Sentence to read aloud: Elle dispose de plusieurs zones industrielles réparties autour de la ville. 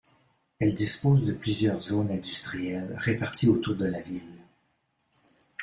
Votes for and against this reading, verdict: 2, 0, accepted